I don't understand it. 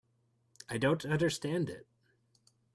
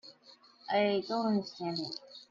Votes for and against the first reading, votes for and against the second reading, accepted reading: 2, 0, 1, 2, first